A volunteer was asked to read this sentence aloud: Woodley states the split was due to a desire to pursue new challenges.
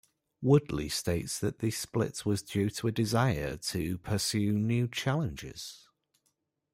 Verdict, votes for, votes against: rejected, 1, 2